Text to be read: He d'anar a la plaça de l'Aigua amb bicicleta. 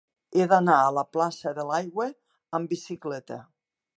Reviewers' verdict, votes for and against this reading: accepted, 2, 0